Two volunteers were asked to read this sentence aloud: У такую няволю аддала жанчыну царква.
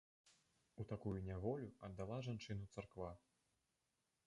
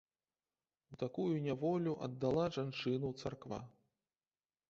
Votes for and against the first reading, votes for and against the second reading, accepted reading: 0, 2, 2, 0, second